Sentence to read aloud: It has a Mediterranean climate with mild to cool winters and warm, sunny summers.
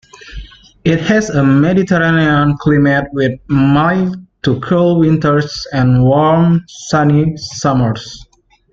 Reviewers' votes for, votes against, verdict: 1, 2, rejected